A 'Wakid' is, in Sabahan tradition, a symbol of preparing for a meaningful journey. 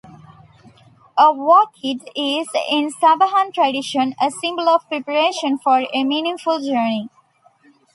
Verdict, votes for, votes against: rejected, 0, 2